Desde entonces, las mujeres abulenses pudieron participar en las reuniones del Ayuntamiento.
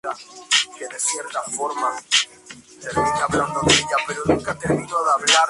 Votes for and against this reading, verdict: 0, 4, rejected